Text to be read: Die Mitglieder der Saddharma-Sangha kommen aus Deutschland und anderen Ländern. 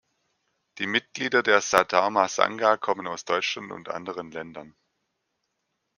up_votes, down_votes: 2, 0